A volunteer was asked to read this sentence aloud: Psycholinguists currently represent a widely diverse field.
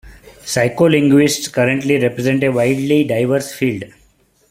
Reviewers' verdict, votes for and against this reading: accepted, 3, 0